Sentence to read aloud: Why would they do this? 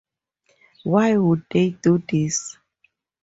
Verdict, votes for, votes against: accepted, 2, 0